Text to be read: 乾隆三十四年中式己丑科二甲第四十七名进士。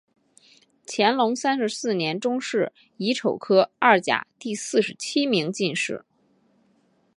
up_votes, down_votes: 3, 0